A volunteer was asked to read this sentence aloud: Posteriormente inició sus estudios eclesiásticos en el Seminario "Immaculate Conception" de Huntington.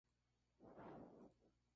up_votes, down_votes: 0, 4